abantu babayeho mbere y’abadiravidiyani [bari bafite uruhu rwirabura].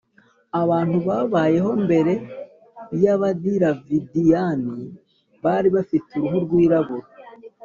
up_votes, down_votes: 4, 0